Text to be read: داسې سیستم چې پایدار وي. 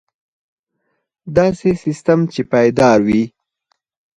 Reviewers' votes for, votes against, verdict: 4, 2, accepted